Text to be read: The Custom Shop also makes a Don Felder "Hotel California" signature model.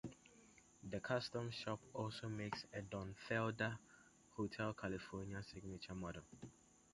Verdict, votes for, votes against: accepted, 2, 0